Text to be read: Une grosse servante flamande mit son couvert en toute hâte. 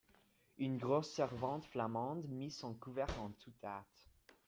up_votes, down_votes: 1, 2